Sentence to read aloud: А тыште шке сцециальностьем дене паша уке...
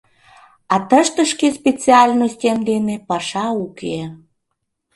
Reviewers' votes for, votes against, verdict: 2, 0, accepted